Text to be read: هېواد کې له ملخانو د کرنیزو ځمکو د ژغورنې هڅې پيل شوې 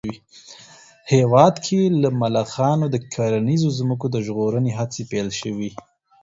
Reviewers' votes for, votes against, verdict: 4, 0, accepted